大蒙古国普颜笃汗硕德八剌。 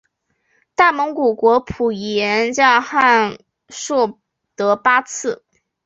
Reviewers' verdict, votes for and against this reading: rejected, 0, 2